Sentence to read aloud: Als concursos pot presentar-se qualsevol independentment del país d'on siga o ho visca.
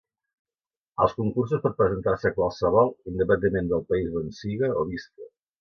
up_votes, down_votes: 1, 2